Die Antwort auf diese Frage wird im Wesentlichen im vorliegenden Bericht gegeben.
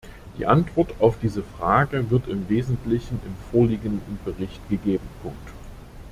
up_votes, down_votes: 0, 2